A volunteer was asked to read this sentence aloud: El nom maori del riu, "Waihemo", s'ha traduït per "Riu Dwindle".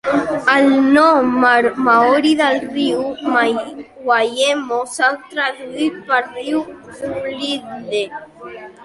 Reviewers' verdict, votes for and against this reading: accepted, 2, 1